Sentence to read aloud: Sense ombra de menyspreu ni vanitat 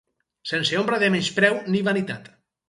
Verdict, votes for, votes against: accepted, 6, 0